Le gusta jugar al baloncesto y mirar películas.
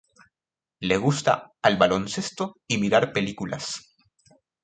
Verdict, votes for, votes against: rejected, 0, 2